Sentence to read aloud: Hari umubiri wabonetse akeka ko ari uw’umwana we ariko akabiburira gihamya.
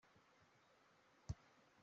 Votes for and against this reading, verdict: 0, 2, rejected